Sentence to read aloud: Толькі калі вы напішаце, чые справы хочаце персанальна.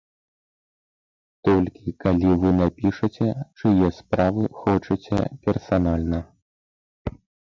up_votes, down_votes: 0, 3